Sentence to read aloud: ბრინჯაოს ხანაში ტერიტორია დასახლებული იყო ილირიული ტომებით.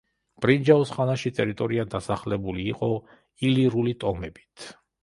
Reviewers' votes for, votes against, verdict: 0, 3, rejected